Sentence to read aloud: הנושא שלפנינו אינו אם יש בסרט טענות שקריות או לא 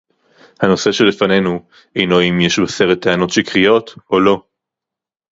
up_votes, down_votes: 0, 2